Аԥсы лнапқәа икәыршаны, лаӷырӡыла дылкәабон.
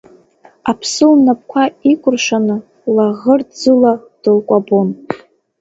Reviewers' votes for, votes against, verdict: 0, 2, rejected